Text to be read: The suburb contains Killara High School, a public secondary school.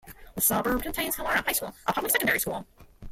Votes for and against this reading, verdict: 0, 2, rejected